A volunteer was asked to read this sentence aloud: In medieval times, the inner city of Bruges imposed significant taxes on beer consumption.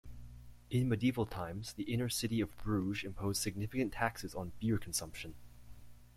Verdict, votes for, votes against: accepted, 2, 0